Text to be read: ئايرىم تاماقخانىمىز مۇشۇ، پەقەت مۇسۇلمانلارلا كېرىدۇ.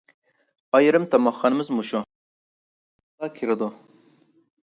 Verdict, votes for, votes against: rejected, 0, 2